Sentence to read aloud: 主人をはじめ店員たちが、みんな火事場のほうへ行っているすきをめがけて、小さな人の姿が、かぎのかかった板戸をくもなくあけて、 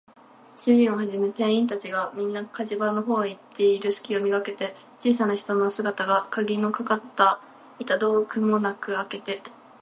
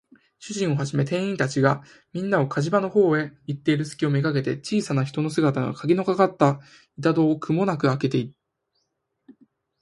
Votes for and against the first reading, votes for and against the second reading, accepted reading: 2, 0, 0, 4, first